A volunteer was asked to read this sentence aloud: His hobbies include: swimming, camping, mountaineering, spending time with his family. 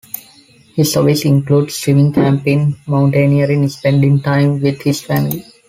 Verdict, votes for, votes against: accepted, 2, 1